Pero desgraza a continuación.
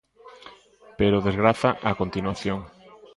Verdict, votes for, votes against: rejected, 0, 2